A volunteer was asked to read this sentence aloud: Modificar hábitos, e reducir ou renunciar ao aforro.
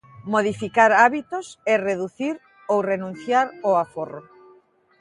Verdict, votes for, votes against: accepted, 2, 0